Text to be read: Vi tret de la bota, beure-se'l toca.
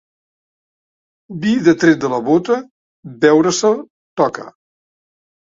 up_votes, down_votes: 1, 2